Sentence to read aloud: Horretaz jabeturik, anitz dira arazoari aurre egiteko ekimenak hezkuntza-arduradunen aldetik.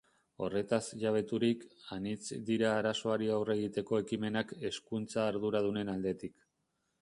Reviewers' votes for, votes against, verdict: 3, 0, accepted